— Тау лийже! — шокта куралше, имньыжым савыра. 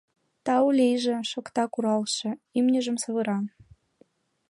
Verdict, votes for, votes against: accepted, 2, 0